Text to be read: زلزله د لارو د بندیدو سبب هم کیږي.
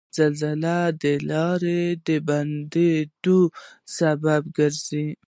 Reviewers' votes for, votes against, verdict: 1, 2, rejected